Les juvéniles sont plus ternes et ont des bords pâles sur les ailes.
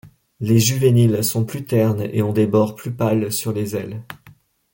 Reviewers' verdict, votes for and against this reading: rejected, 0, 2